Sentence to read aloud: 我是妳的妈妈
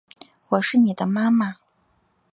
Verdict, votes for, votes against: accepted, 3, 0